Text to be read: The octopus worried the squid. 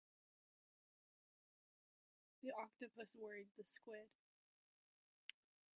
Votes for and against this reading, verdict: 1, 2, rejected